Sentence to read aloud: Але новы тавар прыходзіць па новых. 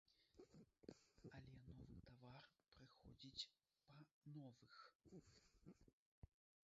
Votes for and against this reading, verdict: 0, 2, rejected